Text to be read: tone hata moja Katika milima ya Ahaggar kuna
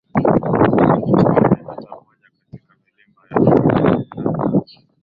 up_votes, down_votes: 2, 22